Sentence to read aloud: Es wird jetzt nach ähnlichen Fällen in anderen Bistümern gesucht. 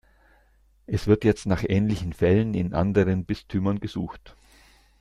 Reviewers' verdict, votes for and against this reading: accepted, 2, 0